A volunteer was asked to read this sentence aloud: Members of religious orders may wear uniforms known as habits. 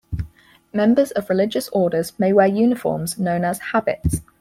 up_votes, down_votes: 4, 0